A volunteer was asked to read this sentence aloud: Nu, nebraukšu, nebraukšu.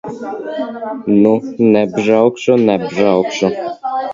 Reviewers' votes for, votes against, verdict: 0, 2, rejected